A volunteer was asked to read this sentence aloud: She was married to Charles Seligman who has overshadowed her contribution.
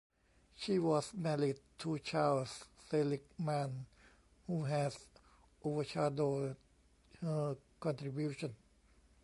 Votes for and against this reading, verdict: 1, 2, rejected